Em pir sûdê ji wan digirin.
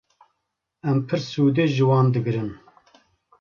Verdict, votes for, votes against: accepted, 2, 0